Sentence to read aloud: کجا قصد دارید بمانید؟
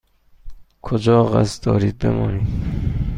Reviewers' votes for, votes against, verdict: 2, 0, accepted